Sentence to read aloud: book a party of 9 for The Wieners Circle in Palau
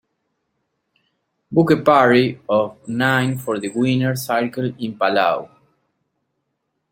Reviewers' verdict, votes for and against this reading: rejected, 0, 2